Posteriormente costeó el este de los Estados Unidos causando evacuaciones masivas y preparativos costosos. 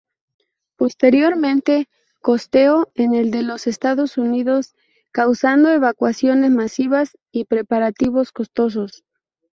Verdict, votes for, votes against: rejected, 2, 2